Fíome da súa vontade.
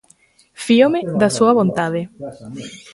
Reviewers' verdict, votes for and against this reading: rejected, 1, 2